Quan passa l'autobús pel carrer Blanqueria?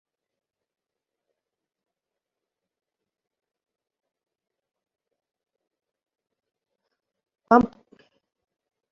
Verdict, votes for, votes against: rejected, 0, 2